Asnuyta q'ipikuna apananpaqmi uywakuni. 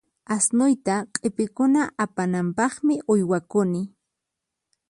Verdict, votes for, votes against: accepted, 4, 0